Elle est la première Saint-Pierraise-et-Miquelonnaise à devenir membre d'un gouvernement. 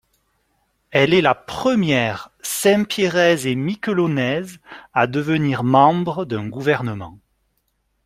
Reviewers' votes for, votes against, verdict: 2, 0, accepted